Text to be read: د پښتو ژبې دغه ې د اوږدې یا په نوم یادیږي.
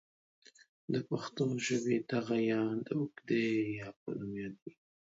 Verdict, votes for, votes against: accepted, 3, 0